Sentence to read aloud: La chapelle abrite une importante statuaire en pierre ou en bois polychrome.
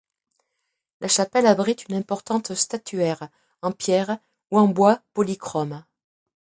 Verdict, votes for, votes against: accepted, 2, 0